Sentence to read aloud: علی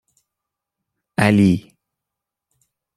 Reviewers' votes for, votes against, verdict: 2, 0, accepted